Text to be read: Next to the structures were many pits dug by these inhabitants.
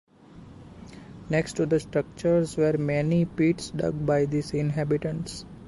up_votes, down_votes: 2, 0